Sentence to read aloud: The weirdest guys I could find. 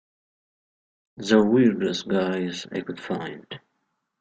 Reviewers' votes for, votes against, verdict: 2, 1, accepted